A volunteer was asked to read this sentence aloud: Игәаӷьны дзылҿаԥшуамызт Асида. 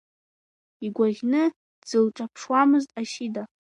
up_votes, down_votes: 2, 0